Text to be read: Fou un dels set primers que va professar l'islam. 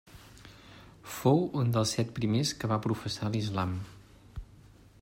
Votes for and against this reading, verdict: 3, 0, accepted